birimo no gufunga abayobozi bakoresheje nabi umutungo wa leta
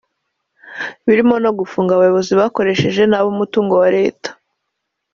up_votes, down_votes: 3, 1